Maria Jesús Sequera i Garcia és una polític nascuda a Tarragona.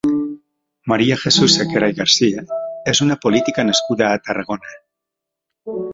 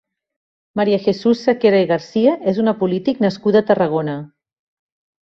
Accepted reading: second